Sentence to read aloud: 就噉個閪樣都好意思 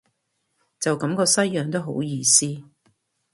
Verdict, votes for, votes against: rejected, 0, 2